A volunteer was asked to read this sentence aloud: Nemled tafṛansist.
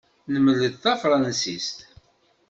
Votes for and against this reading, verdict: 2, 0, accepted